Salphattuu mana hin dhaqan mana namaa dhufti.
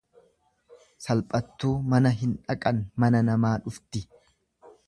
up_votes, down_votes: 2, 0